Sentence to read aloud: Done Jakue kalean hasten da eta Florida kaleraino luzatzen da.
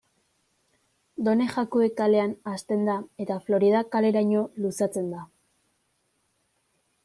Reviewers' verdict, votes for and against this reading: rejected, 1, 2